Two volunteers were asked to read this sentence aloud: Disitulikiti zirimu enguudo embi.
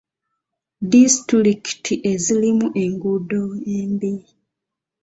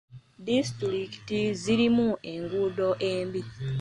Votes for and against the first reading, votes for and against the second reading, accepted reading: 0, 2, 2, 0, second